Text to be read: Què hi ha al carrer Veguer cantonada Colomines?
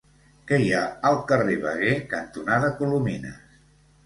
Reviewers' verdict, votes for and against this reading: accepted, 2, 0